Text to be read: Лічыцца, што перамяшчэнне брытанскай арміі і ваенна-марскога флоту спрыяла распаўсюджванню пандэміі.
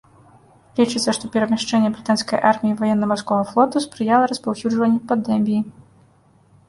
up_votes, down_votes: 1, 2